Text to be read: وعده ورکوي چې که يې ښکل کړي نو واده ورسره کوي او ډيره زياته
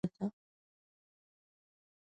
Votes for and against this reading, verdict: 1, 2, rejected